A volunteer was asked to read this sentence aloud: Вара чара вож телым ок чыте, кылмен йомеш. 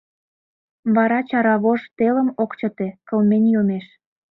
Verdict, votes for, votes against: accepted, 2, 0